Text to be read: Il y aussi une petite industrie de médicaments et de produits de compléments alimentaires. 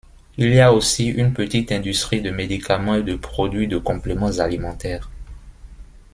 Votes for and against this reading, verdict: 2, 0, accepted